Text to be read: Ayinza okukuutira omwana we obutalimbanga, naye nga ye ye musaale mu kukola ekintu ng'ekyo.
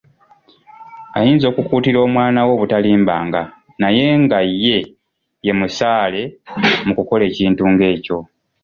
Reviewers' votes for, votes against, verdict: 2, 0, accepted